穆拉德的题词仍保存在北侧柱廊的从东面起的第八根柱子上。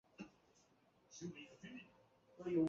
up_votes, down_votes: 2, 3